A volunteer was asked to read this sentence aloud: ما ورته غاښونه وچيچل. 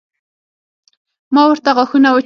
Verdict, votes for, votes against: rejected, 3, 6